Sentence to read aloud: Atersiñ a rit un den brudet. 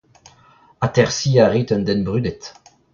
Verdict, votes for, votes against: accepted, 2, 0